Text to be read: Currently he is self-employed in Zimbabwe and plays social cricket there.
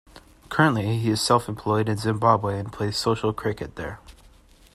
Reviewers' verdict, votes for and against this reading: accepted, 2, 0